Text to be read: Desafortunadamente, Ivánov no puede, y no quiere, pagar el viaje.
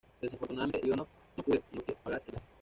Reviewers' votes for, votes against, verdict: 1, 2, rejected